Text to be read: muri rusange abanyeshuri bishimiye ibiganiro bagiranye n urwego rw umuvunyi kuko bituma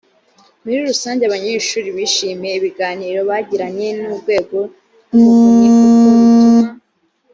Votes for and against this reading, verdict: 1, 2, rejected